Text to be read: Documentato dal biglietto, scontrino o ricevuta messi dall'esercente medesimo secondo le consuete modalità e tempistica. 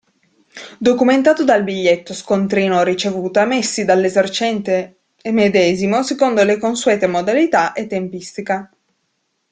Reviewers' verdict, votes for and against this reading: accepted, 2, 0